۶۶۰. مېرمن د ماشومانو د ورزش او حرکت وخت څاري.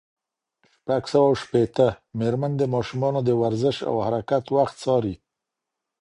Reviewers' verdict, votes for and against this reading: rejected, 0, 2